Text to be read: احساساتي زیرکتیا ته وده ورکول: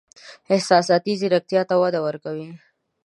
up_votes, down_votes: 1, 3